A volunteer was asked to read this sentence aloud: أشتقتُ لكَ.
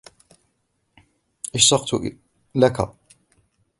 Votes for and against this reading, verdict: 1, 2, rejected